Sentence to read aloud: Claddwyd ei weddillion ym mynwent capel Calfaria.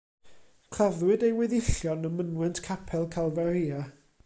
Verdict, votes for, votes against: rejected, 1, 2